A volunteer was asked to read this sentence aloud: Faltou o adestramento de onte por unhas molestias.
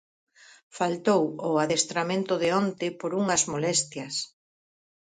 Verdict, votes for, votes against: accepted, 4, 0